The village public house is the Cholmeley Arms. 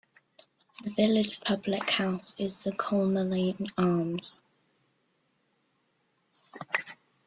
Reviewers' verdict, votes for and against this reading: accepted, 2, 0